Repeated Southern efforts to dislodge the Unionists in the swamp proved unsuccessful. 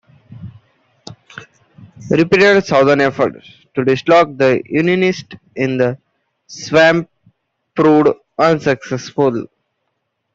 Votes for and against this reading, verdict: 1, 2, rejected